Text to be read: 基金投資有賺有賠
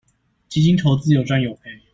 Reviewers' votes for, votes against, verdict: 2, 0, accepted